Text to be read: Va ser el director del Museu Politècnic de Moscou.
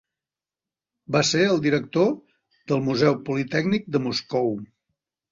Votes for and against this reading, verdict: 3, 0, accepted